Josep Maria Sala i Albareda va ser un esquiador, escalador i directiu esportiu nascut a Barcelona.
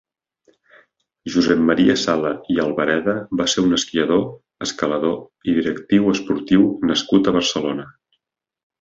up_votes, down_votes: 3, 0